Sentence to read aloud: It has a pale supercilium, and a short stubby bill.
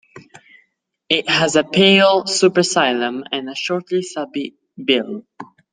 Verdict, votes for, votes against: rejected, 0, 2